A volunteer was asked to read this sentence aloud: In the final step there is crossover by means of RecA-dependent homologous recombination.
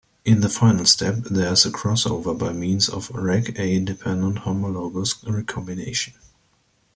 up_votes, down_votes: 2, 1